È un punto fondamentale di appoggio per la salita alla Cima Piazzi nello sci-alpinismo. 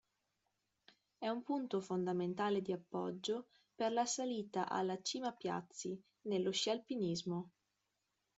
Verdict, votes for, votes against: rejected, 0, 2